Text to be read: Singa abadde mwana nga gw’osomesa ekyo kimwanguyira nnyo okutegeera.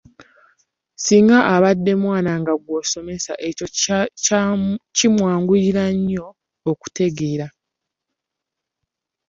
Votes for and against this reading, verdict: 1, 2, rejected